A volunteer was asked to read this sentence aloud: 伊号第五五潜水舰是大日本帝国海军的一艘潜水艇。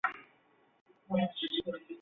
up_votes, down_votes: 0, 2